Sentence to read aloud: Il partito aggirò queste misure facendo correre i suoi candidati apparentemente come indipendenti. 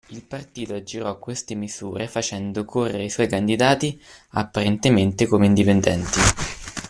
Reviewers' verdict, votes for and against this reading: accepted, 2, 1